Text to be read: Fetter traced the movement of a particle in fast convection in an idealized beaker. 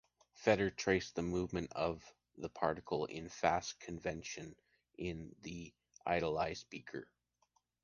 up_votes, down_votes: 0, 2